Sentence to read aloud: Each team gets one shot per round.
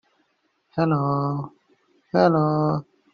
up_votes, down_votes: 0, 2